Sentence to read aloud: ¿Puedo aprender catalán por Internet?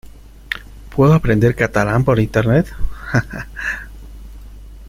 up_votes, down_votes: 0, 2